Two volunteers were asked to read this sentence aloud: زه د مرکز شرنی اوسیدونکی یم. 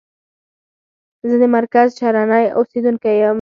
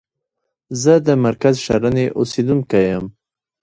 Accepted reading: first